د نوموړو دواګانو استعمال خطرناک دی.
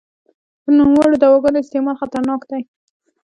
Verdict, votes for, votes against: accepted, 3, 1